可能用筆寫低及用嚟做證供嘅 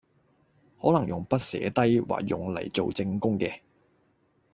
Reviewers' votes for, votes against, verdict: 0, 2, rejected